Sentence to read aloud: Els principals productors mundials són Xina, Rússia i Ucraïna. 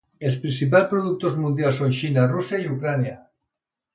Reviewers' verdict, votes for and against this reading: rejected, 1, 2